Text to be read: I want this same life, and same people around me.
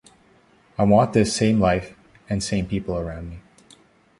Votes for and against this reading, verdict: 2, 0, accepted